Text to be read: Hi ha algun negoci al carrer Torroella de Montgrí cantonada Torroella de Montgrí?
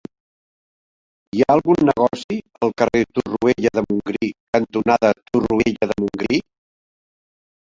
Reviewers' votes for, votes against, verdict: 1, 2, rejected